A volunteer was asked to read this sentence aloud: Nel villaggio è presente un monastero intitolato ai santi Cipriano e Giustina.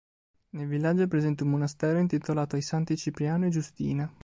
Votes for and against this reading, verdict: 2, 1, accepted